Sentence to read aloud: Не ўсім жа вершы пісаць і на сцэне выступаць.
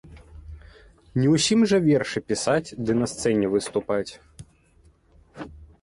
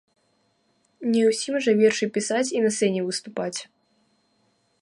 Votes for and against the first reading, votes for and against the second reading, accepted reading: 1, 2, 2, 1, second